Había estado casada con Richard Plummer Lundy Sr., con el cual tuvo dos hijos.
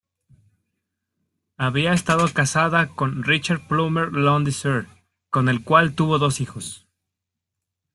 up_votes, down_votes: 2, 0